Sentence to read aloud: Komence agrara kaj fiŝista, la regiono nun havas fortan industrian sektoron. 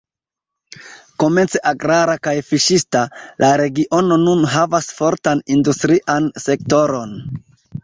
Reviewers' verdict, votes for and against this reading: accepted, 2, 0